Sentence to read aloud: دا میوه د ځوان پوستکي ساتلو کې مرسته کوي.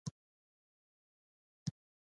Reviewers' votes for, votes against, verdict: 0, 2, rejected